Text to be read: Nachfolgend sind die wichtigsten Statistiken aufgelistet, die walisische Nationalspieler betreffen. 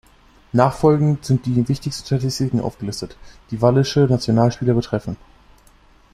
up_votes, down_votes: 1, 2